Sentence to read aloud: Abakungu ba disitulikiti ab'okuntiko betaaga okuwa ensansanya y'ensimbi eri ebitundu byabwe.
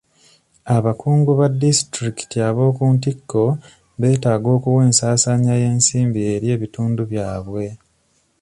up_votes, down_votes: 2, 0